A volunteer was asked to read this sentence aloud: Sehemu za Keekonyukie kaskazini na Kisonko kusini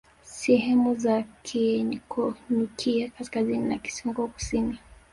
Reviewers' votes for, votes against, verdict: 2, 0, accepted